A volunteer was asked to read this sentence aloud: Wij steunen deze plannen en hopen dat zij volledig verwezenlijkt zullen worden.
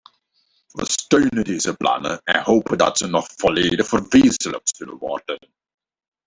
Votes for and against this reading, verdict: 0, 2, rejected